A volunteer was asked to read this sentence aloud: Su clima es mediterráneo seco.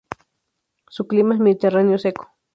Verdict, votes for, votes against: rejected, 0, 2